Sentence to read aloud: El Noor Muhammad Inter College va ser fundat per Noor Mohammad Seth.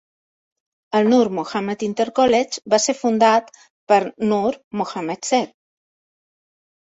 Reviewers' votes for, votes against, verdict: 2, 0, accepted